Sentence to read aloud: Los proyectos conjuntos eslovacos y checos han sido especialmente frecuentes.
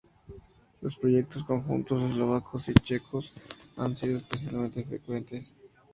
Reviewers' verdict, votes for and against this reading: accepted, 4, 0